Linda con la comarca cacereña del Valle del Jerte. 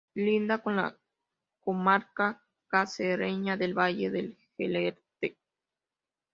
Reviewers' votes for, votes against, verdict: 2, 1, accepted